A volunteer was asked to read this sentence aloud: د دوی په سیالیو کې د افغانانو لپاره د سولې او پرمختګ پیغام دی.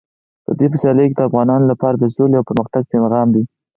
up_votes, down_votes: 4, 2